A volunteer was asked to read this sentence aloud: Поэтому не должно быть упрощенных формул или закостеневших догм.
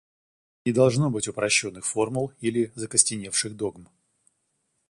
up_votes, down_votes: 0, 2